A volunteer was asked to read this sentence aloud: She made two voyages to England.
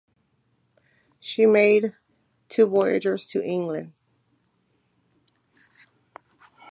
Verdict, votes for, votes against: accepted, 2, 0